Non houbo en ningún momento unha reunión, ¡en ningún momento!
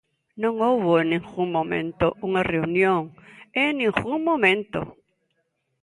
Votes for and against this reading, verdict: 2, 0, accepted